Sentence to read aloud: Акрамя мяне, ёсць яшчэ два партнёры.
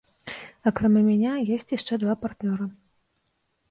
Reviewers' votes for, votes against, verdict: 0, 2, rejected